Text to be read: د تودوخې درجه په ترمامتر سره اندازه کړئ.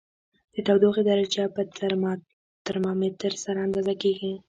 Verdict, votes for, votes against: accepted, 2, 1